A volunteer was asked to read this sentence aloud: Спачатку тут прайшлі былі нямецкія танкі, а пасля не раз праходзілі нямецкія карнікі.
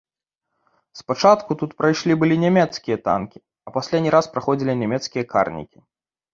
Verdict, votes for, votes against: accepted, 2, 0